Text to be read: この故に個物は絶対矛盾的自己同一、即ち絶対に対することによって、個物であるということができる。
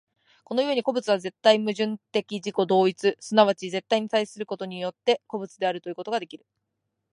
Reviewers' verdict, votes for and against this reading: accepted, 2, 0